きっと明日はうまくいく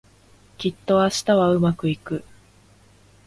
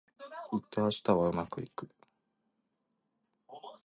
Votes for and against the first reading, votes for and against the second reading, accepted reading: 2, 0, 1, 2, first